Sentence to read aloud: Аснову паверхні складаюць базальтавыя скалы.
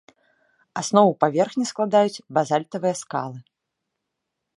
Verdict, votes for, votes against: accepted, 2, 0